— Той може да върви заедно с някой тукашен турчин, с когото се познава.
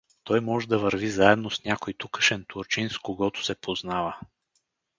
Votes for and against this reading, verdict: 4, 0, accepted